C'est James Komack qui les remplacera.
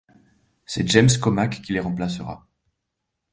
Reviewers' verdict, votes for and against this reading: accepted, 2, 0